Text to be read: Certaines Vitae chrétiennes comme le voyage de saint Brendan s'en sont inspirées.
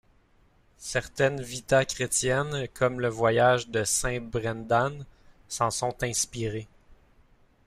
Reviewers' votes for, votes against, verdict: 1, 2, rejected